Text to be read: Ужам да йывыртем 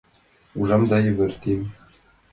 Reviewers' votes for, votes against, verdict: 2, 0, accepted